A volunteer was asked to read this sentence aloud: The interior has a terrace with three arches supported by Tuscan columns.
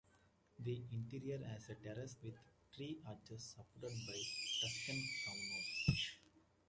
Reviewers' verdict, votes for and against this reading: accepted, 2, 0